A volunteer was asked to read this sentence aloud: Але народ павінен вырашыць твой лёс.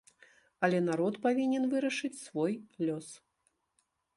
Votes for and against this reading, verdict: 0, 2, rejected